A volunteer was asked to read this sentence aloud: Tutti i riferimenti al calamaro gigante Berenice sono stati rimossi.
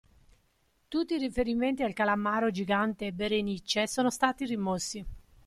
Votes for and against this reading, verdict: 2, 0, accepted